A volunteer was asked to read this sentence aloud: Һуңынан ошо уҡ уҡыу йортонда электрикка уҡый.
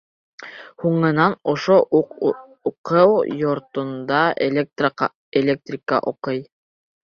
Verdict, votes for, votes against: rejected, 0, 2